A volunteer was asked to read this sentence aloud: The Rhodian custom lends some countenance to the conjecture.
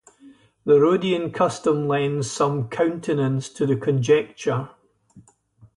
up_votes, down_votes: 2, 0